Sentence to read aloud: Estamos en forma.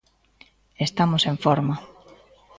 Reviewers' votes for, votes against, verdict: 0, 2, rejected